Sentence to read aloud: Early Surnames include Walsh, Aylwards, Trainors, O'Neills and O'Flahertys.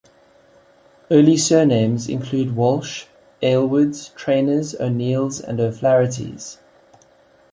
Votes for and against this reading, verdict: 2, 0, accepted